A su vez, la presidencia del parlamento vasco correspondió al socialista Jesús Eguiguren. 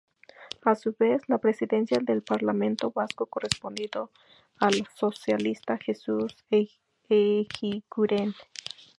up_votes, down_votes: 0, 2